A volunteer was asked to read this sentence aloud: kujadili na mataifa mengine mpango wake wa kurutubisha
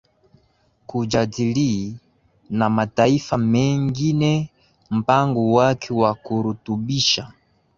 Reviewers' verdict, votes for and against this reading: rejected, 1, 4